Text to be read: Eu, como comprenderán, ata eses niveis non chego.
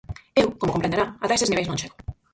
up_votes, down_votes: 0, 4